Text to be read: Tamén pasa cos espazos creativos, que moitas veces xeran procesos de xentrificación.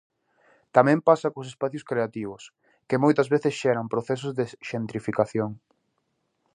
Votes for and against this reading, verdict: 0, 2, rejected